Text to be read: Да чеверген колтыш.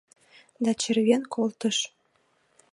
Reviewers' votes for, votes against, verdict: 1, 2, rejected